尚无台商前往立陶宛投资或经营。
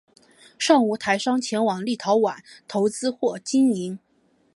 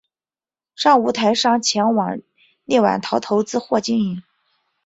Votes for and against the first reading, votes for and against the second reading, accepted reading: 4, 1, 1, 2, first